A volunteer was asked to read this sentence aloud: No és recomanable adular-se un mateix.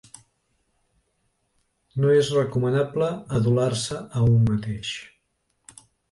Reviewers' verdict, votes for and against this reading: rejected, 1, 2